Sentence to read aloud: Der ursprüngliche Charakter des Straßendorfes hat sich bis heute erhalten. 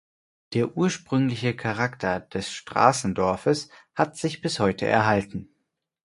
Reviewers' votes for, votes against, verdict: 4, 0, accepted